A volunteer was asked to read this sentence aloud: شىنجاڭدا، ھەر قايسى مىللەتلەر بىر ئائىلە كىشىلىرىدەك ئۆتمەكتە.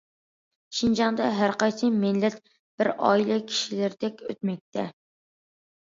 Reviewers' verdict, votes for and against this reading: accepted, 2, 0